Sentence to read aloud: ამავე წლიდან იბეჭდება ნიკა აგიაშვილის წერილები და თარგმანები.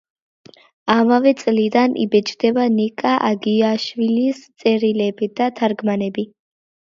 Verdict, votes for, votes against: accepted, 2, 0